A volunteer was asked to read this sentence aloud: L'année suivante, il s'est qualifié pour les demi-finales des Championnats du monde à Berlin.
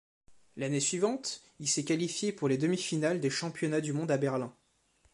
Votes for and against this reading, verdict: 3, 0, accepted